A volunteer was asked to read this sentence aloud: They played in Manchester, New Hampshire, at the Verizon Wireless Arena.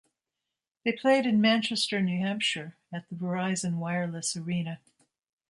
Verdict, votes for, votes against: accepted, 3, 0